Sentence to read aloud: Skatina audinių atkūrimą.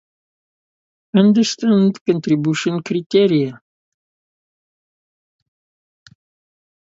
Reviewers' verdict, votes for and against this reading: rejected, 0, 2